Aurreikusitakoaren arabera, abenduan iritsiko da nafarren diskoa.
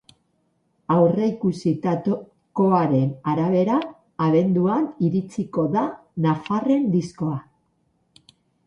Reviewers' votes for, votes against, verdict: 0, 8, rejected